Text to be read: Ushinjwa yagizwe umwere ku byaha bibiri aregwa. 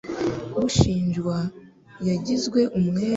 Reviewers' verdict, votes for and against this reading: rejected, 0, 2